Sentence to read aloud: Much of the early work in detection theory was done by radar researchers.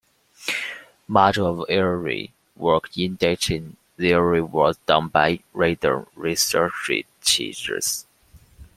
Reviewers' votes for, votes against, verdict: 1, 2, rejected